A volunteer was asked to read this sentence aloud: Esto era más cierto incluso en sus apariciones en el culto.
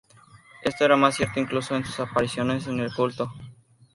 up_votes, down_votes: 2, 0